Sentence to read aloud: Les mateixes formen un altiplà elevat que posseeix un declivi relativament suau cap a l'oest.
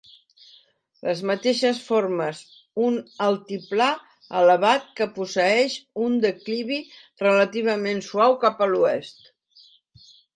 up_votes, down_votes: 1, 2